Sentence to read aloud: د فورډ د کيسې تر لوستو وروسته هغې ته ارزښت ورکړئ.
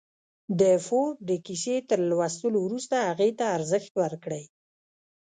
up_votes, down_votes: 1, 2